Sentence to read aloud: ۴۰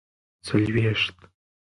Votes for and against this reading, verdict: 0, 2, rejected